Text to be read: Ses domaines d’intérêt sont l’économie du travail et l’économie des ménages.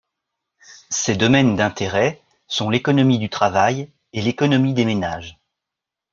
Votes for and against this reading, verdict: 2, 0, accepted